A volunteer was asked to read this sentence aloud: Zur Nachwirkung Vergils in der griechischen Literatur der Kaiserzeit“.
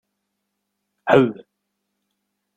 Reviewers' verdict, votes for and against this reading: rejected, 0, 2